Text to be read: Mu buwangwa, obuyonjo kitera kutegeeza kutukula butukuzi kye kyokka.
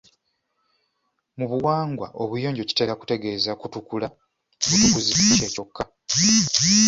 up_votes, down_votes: 2, 1